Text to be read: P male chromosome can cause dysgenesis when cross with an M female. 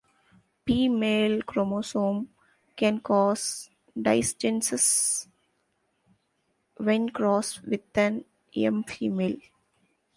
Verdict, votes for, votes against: rejected, 0, 2